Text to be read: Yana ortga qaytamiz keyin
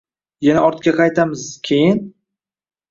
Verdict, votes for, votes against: accepted, 2, 0